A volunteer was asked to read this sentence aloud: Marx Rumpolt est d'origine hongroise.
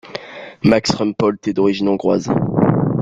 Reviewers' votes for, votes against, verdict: 2, 0, accepted